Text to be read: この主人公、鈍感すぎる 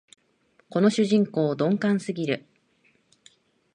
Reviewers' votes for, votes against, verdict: 2, 0, accepted